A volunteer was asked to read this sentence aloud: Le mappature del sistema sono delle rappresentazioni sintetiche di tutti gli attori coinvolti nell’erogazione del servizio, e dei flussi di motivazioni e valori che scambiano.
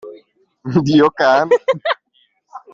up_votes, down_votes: 0, 2